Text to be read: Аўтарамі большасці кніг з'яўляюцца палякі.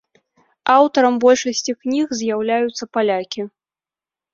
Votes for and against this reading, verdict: 0, 2, rejected